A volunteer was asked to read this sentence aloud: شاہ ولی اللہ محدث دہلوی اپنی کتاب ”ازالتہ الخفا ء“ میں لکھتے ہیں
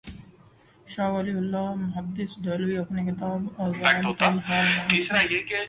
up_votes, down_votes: 0, 2